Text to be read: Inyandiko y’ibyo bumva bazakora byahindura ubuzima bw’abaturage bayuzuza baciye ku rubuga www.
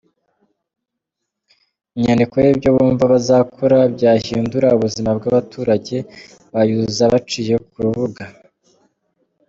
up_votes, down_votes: 0, 2